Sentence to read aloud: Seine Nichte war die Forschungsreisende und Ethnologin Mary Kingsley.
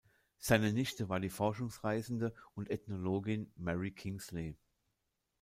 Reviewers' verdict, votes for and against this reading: accepted, 2, 0